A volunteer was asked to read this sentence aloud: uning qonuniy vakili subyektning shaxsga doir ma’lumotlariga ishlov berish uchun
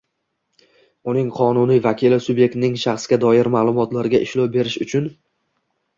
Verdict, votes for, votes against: rejected, 1, 2